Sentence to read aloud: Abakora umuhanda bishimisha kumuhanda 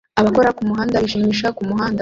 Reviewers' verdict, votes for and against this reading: rejected, 0, 2